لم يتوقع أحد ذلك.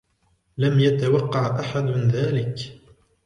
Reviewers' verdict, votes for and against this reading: accepted, 2, 0